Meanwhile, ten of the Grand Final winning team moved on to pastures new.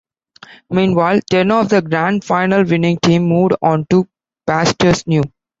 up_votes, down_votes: 2, 1